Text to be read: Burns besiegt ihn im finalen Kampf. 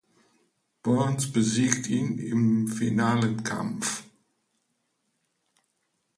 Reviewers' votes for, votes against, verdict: 1, 2, rejected